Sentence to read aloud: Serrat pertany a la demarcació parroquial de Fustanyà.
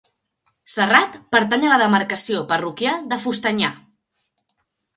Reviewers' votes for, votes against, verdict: 2, 0, accepted